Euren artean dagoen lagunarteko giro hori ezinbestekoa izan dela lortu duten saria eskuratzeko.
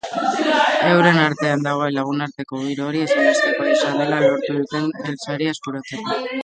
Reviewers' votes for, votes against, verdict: 0, 2, rejected